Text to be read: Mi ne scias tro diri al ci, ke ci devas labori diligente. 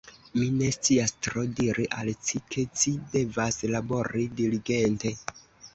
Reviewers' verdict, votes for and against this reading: accepted, 2, 0